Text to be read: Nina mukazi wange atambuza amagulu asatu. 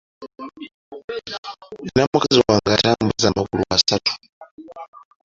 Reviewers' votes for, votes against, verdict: 2, 0, accepted